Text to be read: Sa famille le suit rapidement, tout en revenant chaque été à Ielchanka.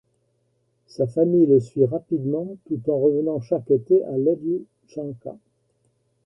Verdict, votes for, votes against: accepted, 2, 0